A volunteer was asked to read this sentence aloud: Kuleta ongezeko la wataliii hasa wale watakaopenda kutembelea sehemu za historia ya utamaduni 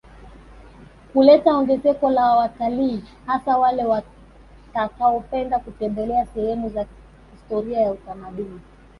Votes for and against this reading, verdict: 1, 2, rejected